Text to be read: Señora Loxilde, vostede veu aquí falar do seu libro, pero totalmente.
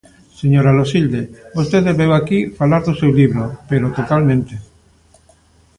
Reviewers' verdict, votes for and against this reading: accepted, 2, 0